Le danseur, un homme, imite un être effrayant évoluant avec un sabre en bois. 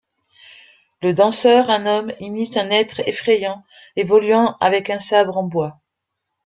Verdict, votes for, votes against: accepted, 2, 0